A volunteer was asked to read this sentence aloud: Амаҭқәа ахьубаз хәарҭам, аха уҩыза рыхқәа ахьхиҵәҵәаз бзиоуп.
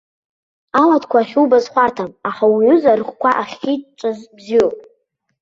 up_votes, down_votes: 0, 2